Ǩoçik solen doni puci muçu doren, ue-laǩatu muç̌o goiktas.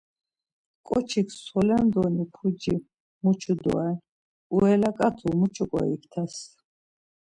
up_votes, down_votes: 0, 2